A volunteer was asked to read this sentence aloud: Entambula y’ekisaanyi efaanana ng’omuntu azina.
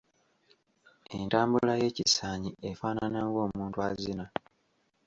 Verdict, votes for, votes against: accepted, 2, 0